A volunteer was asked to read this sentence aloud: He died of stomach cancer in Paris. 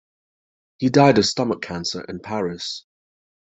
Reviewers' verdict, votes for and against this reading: accepted, 2, 0